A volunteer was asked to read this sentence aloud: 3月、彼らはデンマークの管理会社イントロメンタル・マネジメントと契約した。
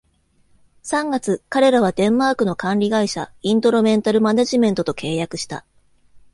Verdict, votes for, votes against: rejected, 0, 2